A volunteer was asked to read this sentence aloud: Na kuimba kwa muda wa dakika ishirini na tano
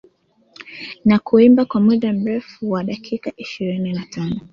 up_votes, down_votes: 1, 2